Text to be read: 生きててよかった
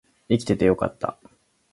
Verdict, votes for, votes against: accepted, 2, 0